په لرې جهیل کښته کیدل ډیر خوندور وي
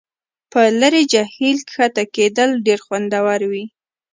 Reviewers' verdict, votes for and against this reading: accepted, 2, 0